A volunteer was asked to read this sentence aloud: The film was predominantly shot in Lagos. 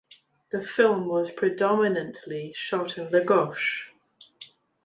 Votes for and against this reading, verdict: 2, 0, accepted